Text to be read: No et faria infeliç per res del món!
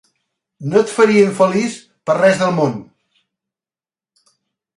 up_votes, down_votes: 4, 1